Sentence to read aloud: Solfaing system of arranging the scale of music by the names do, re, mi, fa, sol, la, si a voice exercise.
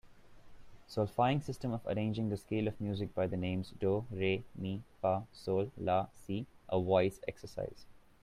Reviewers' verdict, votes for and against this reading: accepted, 2, 0